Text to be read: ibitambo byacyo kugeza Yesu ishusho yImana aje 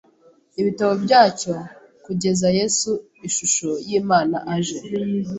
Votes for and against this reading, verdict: 1, 2, rejected